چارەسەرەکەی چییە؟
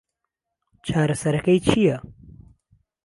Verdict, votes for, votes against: rejected, 0, 2